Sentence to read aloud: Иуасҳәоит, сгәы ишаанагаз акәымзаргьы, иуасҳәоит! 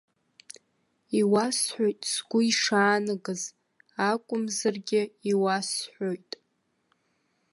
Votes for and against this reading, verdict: 0, 2, rejected